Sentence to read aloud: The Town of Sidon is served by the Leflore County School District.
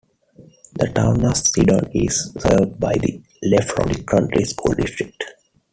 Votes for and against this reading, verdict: 1, 2, rejected